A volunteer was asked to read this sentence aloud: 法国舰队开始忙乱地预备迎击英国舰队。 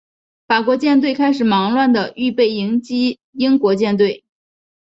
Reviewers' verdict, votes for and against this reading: accepted, 3, 0